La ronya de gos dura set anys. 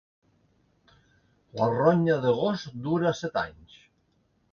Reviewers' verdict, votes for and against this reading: accepted, 2, 1